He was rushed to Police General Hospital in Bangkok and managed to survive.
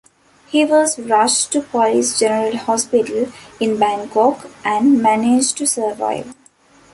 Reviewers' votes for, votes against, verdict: 1, 2, rejected